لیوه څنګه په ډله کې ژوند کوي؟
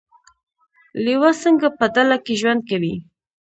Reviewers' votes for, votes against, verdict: 2, 0, accepted